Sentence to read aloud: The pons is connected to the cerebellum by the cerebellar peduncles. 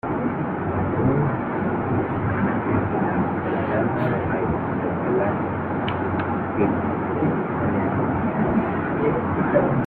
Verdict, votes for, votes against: rejected, 0, 3